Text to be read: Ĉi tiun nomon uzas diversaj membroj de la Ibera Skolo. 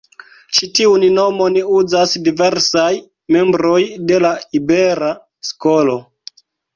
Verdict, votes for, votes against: accepted, 2, 1